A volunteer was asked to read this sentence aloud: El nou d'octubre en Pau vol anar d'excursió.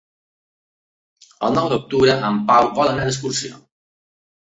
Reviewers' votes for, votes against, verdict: 2, 0, accepted